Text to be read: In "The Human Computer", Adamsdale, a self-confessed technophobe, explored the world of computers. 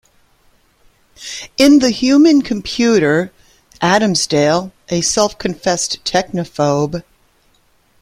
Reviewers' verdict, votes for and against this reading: rejected, 1, 2